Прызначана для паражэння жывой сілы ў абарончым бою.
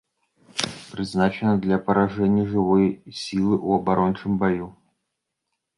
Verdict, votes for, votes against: rejected, 0, 2